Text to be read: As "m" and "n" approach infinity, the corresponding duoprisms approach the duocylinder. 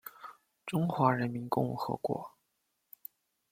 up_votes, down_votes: 0, 2